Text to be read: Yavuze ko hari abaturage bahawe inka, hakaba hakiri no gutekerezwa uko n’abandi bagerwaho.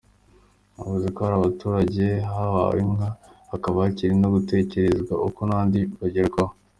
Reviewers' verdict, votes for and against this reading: accepted, 2, 0